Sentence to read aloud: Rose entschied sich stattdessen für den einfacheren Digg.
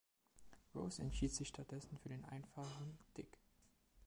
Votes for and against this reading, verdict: 1, 2, rejected